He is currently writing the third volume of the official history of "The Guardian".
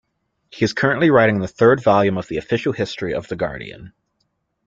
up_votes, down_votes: 2, 0